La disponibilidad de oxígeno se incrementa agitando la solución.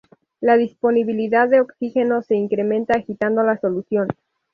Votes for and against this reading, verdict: 2, 0, accepted